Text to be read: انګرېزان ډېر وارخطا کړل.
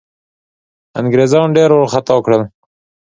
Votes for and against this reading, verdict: 2, 0, accepted